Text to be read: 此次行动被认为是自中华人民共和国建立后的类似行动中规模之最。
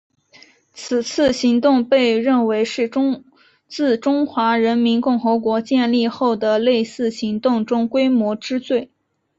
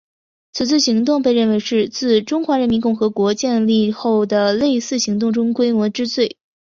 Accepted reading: second